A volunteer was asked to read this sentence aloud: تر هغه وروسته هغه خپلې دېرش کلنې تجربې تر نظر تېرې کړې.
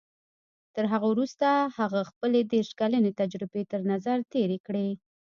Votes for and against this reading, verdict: 2, 0, accepted